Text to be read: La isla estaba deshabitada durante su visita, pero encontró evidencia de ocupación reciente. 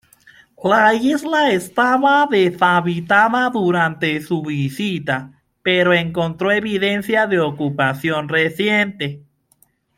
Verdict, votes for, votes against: accepted, 2, 0